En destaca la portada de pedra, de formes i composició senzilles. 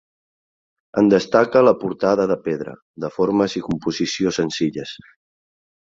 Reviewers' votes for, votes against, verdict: 4, 0, accepted